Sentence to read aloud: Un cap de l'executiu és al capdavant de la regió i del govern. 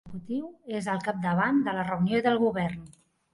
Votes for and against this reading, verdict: 0, 2, rejected